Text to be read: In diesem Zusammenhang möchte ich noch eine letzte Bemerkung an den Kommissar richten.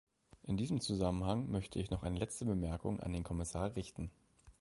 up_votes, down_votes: 2, 0